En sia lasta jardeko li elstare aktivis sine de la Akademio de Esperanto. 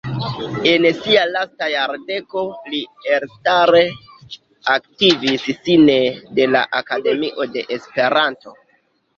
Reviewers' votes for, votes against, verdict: 1, 2, rejected